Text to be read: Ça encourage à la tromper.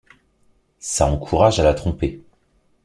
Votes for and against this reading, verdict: 2, 0, accepted